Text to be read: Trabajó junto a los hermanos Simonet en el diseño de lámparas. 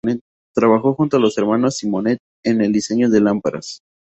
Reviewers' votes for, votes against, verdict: 2, 0, accepted